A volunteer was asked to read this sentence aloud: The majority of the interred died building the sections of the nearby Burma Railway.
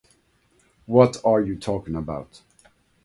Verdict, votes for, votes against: rejected, 0, 2